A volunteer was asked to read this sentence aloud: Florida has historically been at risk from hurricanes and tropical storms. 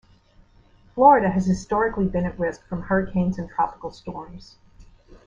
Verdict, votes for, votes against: accepted, 2, 0